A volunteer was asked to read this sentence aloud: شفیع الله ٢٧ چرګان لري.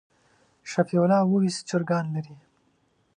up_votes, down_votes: 0, 2